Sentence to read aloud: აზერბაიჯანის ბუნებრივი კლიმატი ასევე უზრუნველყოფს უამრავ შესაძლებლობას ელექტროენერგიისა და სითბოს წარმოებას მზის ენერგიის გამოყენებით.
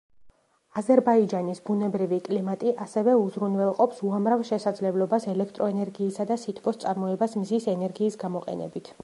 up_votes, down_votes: 2, 0